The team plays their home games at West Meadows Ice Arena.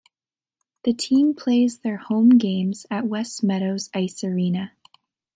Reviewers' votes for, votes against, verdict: 2, 0, accepted